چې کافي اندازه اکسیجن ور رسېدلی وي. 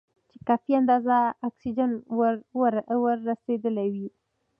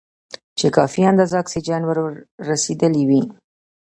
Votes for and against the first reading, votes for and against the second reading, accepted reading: 2, 0, 0, 2, first